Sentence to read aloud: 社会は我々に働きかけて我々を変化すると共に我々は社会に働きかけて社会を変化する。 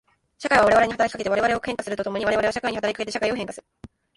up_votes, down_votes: 0, 2